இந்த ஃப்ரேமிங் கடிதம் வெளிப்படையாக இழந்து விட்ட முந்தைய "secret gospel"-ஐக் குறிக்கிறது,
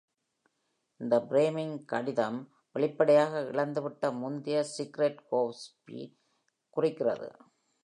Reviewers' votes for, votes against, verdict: 0, 2, rejected